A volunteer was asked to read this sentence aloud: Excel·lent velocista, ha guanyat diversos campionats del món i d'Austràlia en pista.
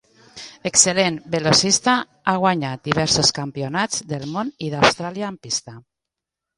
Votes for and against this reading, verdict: 2, 0, accepted